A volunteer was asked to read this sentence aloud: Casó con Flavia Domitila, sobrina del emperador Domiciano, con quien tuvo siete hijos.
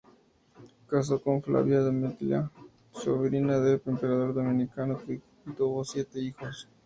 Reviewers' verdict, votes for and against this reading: rejected, 2, 2